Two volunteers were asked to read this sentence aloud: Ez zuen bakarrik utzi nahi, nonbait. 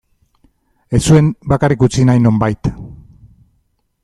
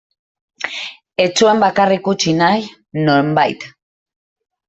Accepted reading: first